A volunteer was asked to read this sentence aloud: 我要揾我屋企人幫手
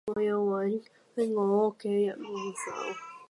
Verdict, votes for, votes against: rejected, 0, 2